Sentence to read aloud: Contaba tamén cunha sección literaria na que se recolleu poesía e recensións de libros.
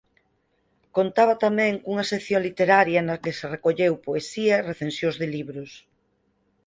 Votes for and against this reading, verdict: 2, 4, rejected